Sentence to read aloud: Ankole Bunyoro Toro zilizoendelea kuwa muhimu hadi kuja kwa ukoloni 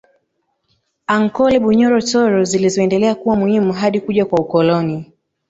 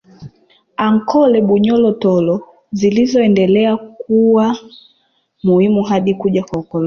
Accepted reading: first